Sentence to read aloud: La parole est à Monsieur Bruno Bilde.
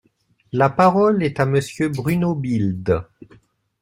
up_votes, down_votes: 2, 0